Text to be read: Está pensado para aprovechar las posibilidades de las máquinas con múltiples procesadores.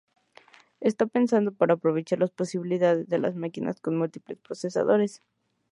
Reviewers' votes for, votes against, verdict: 2, 0, accepted